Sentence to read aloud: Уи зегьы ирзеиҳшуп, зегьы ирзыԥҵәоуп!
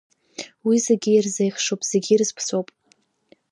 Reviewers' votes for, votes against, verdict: 1, 2, rejected